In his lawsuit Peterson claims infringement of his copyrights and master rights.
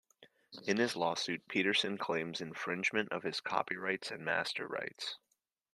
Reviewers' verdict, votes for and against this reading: accepted, 2, 0